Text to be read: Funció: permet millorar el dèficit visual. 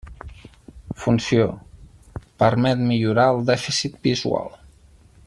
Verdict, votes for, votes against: accepted, 6, 0